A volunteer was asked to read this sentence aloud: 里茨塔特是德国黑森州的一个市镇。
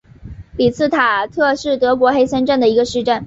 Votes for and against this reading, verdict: 1, 2, rejected